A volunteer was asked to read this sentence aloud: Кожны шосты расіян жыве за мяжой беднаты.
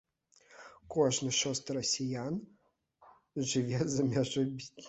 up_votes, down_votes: 0, 2